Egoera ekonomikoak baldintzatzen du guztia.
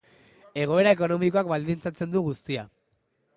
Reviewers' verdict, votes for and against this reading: accepted, 2, 0